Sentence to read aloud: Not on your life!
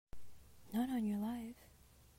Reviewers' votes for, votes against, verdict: 2, 0, accepted